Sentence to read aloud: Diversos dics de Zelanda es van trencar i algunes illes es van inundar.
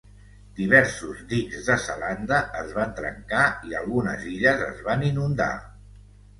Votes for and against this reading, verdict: 2, 0, accepted